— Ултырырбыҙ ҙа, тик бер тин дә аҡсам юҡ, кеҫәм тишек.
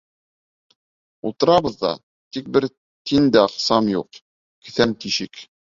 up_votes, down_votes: 0, 2